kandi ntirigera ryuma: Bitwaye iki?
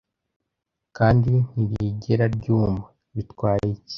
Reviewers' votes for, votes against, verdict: 2, 0, accepted